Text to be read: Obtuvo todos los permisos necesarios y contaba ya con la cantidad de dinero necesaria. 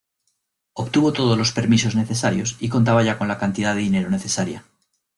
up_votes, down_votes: 2, 0